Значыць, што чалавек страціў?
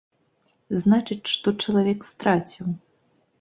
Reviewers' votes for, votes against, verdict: 2, 0, accepted